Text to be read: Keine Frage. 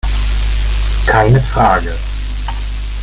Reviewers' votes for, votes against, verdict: 2, 0, accepted